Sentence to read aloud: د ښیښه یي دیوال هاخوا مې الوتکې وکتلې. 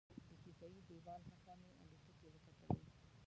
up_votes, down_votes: 1, 2